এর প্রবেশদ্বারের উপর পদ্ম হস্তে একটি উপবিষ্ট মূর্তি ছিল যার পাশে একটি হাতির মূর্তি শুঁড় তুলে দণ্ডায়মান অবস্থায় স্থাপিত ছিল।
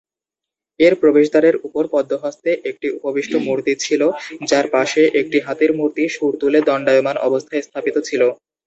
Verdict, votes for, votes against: rejected, 2, 2